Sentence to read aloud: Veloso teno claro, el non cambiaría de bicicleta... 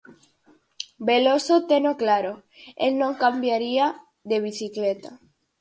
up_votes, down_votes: 4, 0